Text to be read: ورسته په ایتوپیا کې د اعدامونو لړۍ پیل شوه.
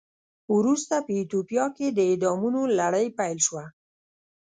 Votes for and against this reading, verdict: 0, 2, rejected